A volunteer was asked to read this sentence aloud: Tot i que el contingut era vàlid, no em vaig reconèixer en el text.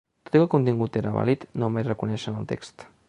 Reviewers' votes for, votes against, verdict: 1, 2, rejected